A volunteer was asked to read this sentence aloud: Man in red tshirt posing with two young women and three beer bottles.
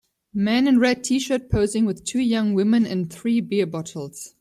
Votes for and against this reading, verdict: 2, 1, accepted